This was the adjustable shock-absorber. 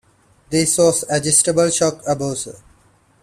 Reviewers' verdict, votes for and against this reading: rejected, 0, 2